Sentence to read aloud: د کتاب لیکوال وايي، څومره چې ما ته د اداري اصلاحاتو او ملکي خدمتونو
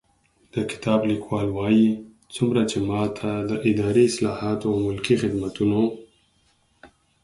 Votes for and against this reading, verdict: 4, 0, accepted